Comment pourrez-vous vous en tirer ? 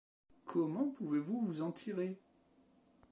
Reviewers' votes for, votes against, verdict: 1, 2, rejected